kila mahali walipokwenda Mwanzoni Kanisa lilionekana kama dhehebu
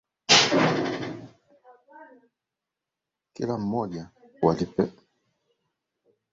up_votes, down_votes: 0, 2